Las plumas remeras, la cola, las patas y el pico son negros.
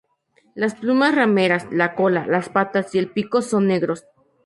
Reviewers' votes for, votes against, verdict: 0, 4, rejected